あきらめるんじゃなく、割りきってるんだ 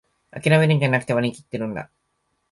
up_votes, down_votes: 2, 0